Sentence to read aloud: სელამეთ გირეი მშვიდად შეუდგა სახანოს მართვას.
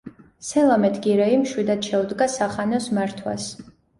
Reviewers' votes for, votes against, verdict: 2, 0, accepted